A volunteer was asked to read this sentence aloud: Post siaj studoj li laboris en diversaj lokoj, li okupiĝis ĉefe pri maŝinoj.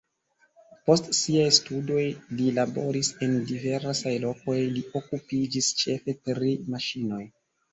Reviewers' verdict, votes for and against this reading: accepted, 2, 1